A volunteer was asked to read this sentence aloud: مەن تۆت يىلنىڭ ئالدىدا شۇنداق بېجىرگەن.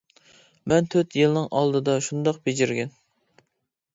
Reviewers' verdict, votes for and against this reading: accepted, 3, 0